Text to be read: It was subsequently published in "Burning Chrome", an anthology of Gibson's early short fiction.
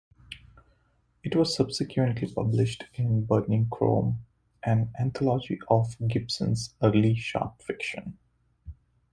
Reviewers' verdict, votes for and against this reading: accepted, 2, 1